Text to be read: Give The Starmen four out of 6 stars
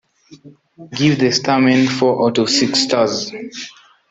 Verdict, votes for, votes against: rejected, 0, 2